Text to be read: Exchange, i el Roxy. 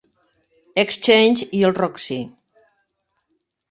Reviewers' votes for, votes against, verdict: 3, 0, accepted